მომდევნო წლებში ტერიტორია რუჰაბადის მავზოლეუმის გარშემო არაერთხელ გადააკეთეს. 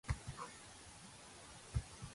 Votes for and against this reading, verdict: 0, 3, rejected